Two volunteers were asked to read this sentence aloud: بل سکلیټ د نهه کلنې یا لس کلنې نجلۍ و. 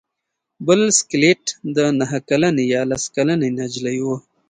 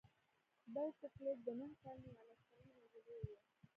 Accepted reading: first